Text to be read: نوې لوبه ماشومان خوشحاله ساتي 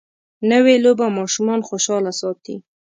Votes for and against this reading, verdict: 2, 0, accepted